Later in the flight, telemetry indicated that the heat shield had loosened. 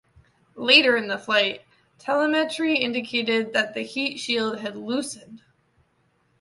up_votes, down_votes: 2, 0